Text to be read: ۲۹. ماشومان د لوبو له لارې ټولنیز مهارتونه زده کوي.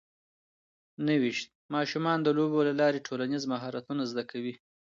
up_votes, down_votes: 0, 2